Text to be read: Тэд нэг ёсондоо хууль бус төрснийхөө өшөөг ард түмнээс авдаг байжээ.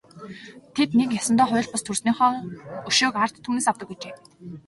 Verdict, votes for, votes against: accepted, 2, 1